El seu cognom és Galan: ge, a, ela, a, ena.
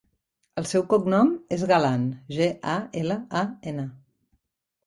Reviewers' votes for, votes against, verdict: 3, 0, accepted